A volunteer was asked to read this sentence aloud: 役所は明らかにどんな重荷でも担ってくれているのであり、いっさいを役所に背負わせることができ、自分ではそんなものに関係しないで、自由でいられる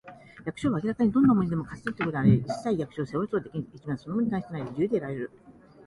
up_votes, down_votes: 0, 2